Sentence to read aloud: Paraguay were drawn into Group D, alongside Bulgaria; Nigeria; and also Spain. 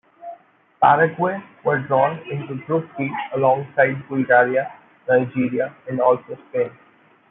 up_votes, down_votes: 2, 1